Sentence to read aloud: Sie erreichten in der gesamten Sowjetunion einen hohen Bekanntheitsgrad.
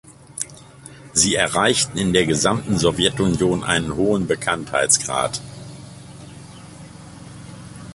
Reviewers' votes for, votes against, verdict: 0, 2, rejected